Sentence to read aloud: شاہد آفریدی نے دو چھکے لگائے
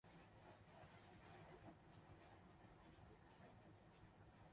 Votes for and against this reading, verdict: 0, 2, rejected